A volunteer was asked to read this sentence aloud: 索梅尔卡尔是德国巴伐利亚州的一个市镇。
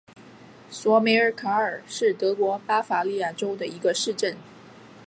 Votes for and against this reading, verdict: 2, 0, accepted